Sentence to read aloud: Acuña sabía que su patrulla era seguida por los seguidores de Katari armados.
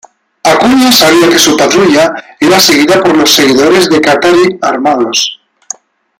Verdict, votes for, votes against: accepted, 2, 0